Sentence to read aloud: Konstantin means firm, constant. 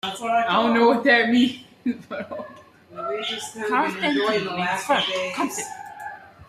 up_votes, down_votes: 0, 2